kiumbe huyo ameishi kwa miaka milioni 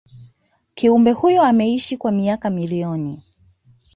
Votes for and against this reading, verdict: 2, 0, accepted